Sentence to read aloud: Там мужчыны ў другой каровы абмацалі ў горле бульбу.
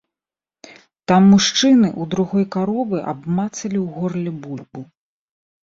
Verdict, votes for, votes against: accepted, 2, 0